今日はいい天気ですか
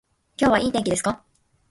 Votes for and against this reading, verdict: 2, 0, accepted